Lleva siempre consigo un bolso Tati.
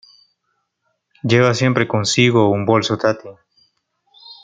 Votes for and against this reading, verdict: 2, 0, accepted